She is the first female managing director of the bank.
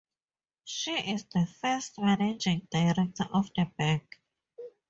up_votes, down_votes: 0, 4